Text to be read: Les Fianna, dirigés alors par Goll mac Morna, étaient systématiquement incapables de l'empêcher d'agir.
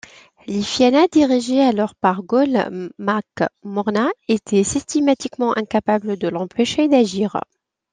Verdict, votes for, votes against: accepted, 2, 0